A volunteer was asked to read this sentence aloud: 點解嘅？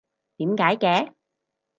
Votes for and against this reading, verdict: 4, 0, accepted